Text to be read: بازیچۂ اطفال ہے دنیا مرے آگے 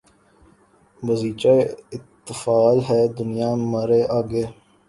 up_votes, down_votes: 1, 2